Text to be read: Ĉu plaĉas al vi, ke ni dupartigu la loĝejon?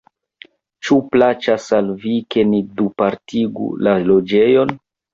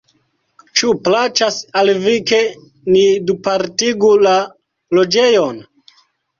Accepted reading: second